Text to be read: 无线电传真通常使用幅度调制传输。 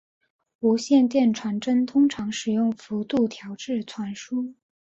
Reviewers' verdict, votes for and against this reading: accepted, 4, 0